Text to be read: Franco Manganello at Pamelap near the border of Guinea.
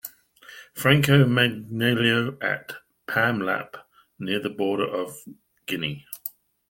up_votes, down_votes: 2, 0